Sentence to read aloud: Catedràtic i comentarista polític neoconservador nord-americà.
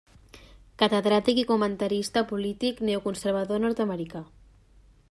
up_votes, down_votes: 3, 0